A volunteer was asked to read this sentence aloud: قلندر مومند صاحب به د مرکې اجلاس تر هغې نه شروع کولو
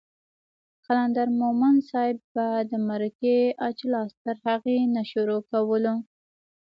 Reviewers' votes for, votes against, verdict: 2, 0, accepted